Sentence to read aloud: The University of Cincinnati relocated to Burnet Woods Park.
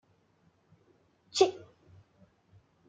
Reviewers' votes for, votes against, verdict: 0, 2, rejected